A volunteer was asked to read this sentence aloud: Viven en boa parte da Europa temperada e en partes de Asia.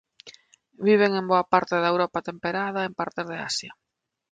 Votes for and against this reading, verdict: 1, 2, rejected